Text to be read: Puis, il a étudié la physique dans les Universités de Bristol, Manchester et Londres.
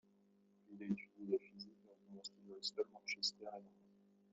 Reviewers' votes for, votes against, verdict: 1, 2, rejected